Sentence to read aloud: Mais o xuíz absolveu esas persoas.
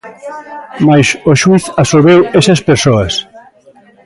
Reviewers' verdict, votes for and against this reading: rejected, 0, 2